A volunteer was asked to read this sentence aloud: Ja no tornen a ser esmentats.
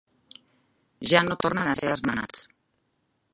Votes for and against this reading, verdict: 1, 2, rejected